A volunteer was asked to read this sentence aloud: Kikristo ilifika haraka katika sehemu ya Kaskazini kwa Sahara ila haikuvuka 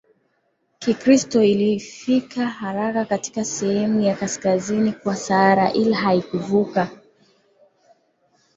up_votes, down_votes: 2, 0